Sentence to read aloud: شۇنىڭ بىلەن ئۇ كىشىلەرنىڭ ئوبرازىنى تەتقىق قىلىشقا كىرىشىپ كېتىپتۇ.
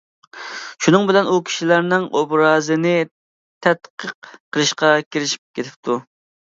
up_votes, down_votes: 2, 0